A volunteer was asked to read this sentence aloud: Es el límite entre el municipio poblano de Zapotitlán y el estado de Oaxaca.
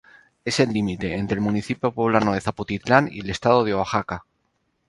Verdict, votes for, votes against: rejected, 0, 2